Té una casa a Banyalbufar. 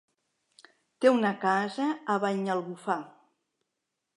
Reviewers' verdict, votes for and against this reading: accepted, 3, 0